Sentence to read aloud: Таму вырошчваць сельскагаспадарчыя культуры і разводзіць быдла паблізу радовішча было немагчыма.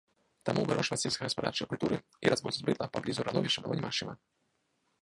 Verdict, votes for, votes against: rejected, 0, 2